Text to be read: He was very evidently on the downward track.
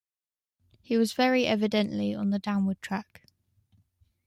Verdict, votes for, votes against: rejected, 0, 2